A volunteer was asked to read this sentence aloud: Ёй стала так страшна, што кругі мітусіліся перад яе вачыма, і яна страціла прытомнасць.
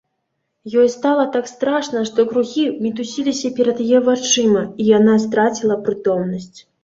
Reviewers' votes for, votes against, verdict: 3, 0, accepted